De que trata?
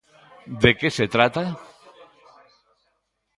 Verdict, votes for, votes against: rejected, 1, 2